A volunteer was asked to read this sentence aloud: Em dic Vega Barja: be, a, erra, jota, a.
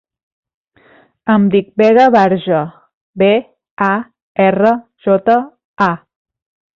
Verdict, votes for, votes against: accepted, 2, 0